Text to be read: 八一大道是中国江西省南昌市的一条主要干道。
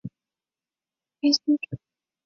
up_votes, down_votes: 0, 2